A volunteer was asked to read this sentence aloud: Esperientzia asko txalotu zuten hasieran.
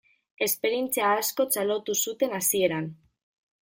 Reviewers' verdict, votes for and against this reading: rejected, 0, 2